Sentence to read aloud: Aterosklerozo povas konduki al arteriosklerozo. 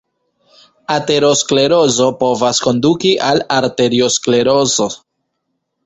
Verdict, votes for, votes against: rejected, 0, 2